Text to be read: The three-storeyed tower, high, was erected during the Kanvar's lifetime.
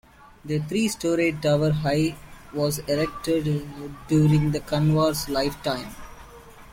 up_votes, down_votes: 0, 2